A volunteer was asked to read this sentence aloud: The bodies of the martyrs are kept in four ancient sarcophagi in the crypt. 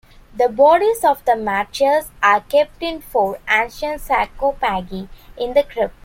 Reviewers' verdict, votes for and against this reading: rejected, 0, 2